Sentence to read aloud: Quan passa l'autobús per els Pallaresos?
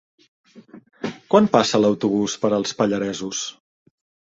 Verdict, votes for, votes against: accepted, 3, 0